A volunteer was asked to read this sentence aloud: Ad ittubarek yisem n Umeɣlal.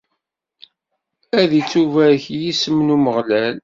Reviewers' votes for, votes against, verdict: 2, 0, accepted